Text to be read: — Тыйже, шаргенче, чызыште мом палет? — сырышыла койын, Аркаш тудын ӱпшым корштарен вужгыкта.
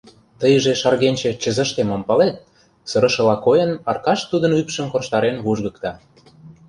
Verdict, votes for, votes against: accepted, 2, 0